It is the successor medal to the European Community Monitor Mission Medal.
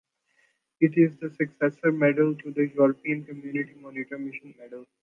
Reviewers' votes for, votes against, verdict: 2, 0, accepted